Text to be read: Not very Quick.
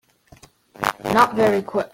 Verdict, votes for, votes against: rejected, 0, 2